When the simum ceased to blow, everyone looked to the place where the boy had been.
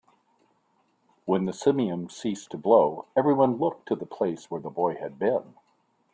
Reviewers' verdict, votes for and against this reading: rejected, 1, 2